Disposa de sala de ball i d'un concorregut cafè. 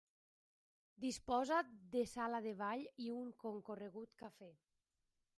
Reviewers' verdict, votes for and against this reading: rejected, 1, 2